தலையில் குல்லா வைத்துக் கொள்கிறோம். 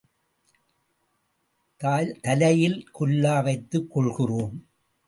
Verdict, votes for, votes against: rejected, 0, 2